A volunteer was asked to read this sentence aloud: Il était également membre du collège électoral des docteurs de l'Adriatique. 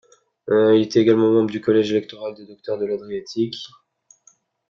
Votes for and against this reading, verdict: 2, 1, accepted